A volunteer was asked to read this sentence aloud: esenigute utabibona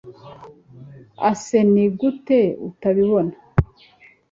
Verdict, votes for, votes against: rejected, 1, 2